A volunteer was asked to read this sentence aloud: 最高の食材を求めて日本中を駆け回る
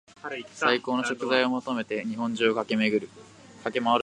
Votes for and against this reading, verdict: 1, 2, rejected